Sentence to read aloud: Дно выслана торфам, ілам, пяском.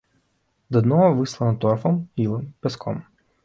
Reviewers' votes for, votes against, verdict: 2, 0, accepted